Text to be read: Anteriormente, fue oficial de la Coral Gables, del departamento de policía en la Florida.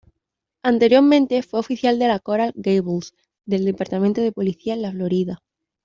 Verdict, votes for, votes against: accepted, 2, 0